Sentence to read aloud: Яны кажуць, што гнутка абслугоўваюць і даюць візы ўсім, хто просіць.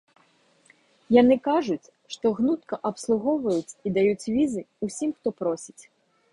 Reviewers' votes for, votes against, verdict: 2, 0, accepted